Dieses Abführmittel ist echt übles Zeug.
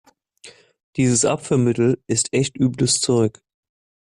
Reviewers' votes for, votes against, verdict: 2, 0, accepted